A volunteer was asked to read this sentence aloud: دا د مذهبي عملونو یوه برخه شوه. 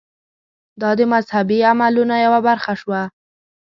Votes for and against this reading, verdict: 2, 0, accepted